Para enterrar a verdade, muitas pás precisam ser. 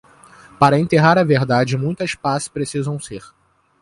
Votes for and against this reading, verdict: 2, 0, accepted